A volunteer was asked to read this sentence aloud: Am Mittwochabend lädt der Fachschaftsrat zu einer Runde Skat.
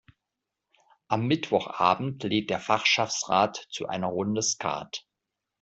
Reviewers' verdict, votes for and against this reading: accepted, 2, 0